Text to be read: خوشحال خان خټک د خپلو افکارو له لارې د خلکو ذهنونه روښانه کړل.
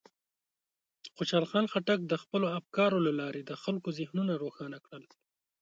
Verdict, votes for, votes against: accepted, 2, 0